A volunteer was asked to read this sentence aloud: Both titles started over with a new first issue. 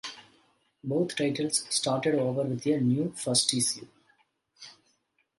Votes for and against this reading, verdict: 1, 2, rejected